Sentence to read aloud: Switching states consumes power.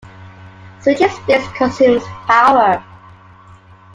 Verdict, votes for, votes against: accepted, 2, 0